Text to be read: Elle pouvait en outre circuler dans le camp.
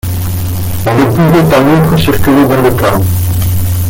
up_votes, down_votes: 0, 2